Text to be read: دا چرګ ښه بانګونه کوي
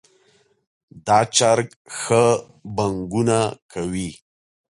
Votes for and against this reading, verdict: 2, 0, accepted